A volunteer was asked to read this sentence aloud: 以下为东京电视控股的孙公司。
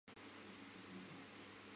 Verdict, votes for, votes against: rejected, 0, 2